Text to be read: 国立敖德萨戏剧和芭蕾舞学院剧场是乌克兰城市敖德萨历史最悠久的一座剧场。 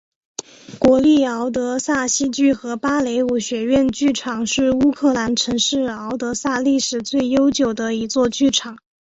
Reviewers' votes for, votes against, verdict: 2, 0, accepted